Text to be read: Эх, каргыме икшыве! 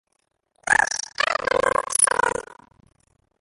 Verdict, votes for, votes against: rejected, 0, 2